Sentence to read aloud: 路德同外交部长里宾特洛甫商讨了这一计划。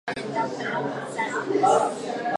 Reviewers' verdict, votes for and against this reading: rejected, 0, 2